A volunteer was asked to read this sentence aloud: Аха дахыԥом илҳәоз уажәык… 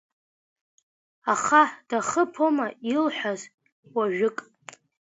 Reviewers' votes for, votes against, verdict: 1, 3, rejected